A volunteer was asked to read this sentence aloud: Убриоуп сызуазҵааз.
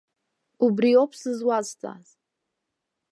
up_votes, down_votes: 2, 0